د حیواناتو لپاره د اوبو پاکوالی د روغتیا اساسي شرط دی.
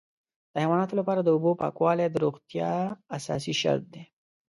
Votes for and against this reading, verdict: 2, 0, accepted